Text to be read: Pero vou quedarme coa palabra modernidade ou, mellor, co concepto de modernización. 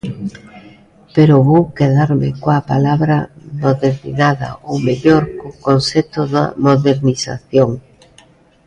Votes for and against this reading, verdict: 0, 2, rejected